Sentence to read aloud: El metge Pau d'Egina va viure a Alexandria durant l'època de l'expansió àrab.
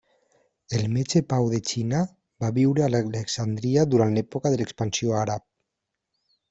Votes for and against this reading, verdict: 2, 1, accepted